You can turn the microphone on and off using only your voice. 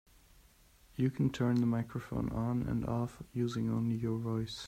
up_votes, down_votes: 2, 0